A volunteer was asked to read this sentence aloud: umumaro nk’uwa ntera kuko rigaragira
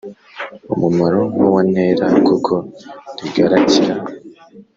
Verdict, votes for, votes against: accepted, 2, 0